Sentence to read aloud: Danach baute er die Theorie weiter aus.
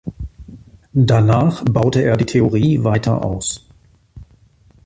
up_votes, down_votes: 2, 1